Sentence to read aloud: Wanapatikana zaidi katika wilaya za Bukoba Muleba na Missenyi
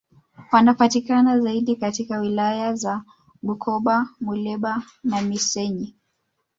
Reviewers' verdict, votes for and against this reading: accepted, 3, 0